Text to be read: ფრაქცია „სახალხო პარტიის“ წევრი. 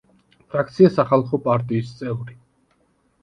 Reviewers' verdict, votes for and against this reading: accepted, 2, 0